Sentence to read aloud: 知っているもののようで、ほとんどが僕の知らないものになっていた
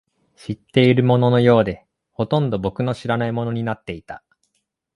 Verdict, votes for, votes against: accepted, 2, 1